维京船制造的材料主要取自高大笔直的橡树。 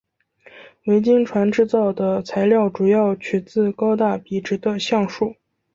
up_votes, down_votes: 6, 0